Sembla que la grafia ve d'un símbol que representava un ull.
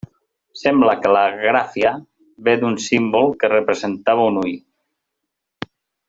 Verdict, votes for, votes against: rejected, 1, 2